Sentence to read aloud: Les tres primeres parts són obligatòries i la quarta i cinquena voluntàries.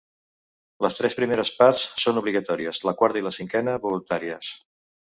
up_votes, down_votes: 0, 2